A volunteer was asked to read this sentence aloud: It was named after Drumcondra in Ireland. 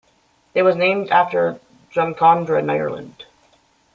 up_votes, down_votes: 2, 0